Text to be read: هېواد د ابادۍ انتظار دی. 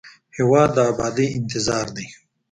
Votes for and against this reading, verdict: 3, 1, accepted